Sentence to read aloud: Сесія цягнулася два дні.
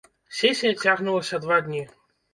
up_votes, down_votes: 1, 2